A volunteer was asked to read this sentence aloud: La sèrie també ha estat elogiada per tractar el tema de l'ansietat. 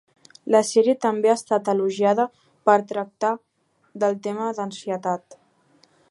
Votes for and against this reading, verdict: 1, 2, rejected